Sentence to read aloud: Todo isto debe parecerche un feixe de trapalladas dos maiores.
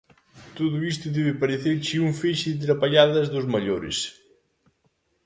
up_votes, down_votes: 2, 0